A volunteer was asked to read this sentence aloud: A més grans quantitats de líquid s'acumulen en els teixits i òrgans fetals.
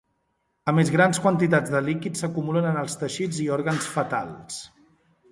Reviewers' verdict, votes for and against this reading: accepted, 2, 0